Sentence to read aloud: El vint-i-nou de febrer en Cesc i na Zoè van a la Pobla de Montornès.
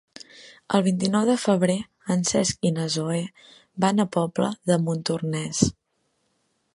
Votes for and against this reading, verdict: 0, 4, rejected